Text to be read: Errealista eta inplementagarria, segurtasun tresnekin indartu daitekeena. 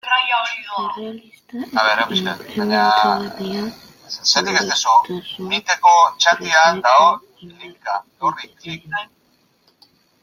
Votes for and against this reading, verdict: 0, 2, rejected